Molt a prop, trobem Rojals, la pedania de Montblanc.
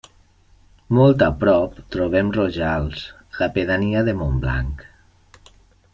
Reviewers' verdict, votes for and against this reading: accepted, 3, 0